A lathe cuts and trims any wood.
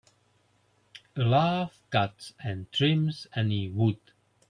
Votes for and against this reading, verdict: 3, 0, accepted